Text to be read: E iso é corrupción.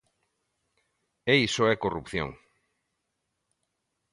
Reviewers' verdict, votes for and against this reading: accepted, 2, 0